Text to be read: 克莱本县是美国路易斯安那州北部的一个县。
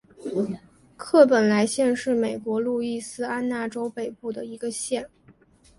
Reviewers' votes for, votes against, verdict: 3, 2, accepted